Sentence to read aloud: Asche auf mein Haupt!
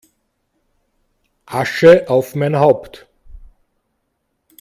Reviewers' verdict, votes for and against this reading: accepted, 2, 0